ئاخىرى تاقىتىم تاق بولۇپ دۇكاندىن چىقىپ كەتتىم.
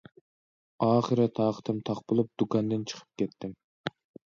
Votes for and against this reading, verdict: 2, 0, accepted